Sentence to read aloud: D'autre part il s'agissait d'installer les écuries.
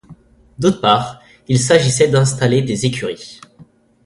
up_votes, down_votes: 1, 2